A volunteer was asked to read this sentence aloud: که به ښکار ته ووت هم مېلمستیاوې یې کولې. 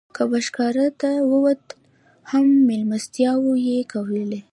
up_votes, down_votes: 2, 0